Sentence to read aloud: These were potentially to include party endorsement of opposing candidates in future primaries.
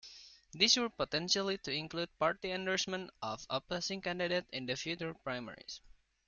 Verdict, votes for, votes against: rejected, 1, 2